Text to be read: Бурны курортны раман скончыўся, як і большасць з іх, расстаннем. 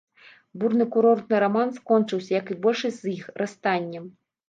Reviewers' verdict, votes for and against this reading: accepted, 2, 0